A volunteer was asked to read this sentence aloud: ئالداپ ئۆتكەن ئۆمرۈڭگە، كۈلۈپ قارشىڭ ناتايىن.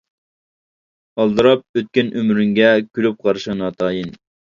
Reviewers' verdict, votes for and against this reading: rejected, 1, 2